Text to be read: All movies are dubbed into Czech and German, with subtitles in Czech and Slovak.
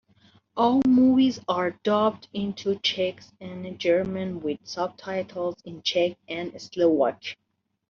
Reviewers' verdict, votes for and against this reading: accepted, 3, 0